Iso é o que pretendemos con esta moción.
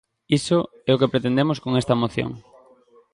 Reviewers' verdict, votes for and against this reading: rejected, 1, 2